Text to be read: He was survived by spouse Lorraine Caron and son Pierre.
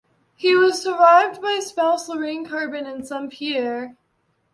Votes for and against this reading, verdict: 2, 1, accepted